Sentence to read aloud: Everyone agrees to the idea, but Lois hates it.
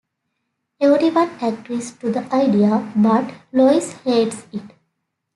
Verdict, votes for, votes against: rejected, 1, 2